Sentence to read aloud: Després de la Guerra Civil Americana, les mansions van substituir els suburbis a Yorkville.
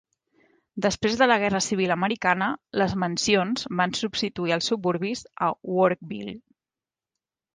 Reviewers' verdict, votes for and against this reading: rejected, 0, 2